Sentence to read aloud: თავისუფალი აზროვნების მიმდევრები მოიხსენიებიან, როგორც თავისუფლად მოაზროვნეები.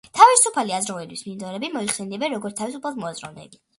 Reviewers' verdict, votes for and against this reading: accepted, 2, 0